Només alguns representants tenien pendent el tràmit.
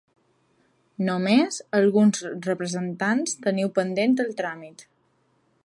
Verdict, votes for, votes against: rejected, 2, 3